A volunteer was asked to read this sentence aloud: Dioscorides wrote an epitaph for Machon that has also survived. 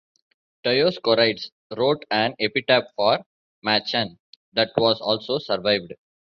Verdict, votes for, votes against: rejected, 0, 2